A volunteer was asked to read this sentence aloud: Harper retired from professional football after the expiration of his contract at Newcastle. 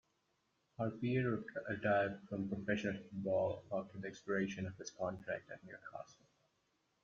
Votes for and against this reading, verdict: 2, 0, accepted